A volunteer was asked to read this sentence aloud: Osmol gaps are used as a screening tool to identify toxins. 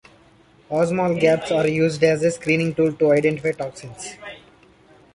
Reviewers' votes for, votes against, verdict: 1, 2, rejected